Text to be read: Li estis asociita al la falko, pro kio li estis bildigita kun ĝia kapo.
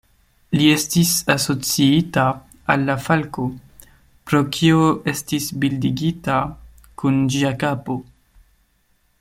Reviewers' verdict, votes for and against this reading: rejected, 1, 2